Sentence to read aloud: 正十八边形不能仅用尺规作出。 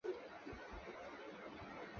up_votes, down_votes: 0, 4